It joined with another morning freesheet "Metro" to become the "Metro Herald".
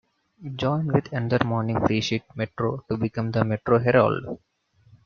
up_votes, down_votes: 2, 0